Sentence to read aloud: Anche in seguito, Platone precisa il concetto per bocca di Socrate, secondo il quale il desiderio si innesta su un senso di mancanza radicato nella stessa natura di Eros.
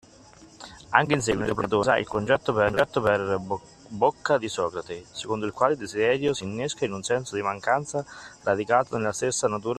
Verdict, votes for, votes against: rejected, 0, 2